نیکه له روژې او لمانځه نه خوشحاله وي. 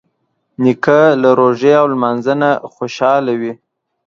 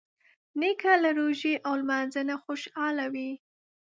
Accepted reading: first